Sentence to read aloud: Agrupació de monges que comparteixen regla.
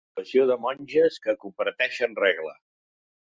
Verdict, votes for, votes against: rejected, 0, 2